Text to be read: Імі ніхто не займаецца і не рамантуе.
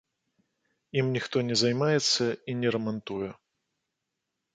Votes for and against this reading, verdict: 1, 3, rejected